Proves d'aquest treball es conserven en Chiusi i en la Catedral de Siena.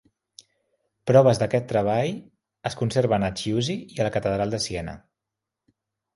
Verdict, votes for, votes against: accepted, 3, 1